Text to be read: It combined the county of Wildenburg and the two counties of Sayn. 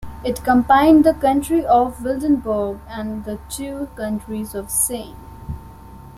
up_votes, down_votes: 0, 2